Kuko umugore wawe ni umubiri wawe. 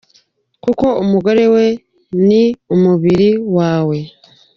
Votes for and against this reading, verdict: 1, 2, rejected